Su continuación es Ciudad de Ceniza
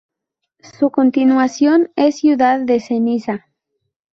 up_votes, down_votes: 2, 0